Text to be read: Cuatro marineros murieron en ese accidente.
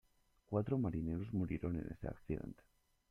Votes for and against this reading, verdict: 2, 1, accepted